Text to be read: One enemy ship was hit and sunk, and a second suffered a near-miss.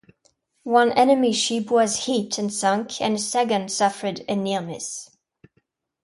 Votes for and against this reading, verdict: 2, 1, accepted